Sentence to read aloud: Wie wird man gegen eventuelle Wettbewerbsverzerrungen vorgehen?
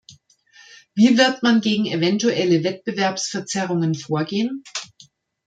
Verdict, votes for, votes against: accepted, 2, 0